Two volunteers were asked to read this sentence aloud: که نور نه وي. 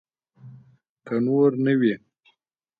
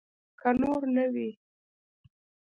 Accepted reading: first